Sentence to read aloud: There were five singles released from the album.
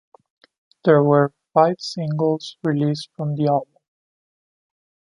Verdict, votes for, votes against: accepted, 2, 0